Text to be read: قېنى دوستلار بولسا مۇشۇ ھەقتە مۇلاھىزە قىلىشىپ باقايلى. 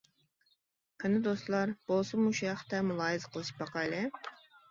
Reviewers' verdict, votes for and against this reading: accepted, 2, 0